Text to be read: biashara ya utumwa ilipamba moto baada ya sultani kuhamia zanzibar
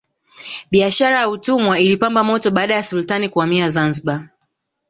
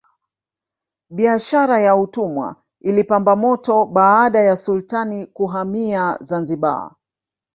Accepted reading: first